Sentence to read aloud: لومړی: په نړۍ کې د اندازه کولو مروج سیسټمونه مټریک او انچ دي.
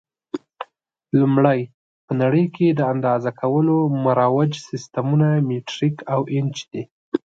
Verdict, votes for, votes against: accepted, 2, 0